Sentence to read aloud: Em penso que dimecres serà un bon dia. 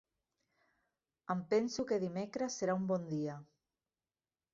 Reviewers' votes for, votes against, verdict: 3, 0, accepted